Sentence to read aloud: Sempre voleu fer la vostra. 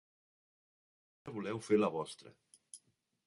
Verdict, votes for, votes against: rejected, 0, 2